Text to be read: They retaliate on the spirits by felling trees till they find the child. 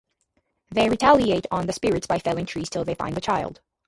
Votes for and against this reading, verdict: 2, 2, rejected